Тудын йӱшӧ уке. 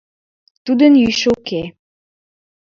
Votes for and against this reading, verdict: 2, 3, rejected